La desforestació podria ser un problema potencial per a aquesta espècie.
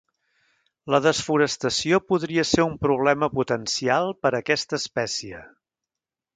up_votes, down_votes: 2, 0